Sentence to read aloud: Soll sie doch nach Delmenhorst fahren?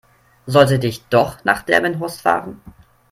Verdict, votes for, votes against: rejected, 0, 3